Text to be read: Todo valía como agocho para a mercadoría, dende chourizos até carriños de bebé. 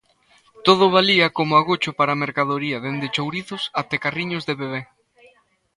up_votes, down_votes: 2, 0